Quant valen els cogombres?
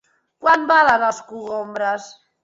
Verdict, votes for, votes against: accepted, 2, 0